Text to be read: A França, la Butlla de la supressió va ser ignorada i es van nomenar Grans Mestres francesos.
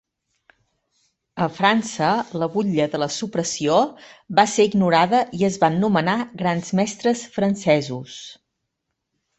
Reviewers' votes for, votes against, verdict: 2, 0, accepted